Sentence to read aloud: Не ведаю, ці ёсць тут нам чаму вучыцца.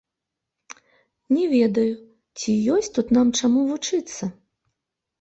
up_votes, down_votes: 0, 2